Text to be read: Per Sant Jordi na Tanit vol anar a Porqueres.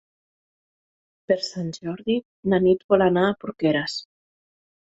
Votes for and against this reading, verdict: 1, 2, rejected